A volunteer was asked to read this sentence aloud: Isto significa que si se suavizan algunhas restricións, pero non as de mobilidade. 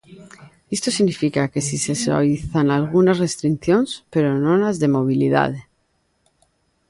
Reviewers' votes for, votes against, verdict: 0, 2, rejected